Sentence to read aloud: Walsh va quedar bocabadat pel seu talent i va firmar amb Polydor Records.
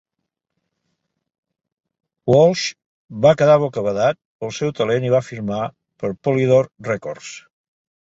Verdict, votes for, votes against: rejected, 1, 2